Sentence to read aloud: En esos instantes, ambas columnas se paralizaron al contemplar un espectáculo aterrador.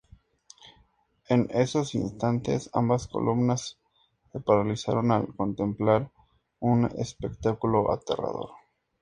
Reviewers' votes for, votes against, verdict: 2, 0, accepted